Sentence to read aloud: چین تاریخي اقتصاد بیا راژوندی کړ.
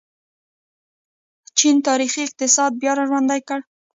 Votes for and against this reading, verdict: 1, 2, rejected